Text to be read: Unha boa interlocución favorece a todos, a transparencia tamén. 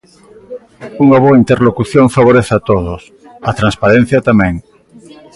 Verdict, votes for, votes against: accepted, 2, 0